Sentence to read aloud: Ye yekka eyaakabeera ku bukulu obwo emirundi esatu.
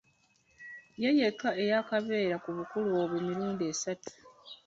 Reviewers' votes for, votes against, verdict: 1, 2, rejected